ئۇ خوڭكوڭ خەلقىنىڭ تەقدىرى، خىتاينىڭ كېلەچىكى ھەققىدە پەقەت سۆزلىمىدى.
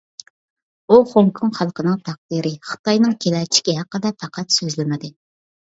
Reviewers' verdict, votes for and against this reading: accepted, 2, 1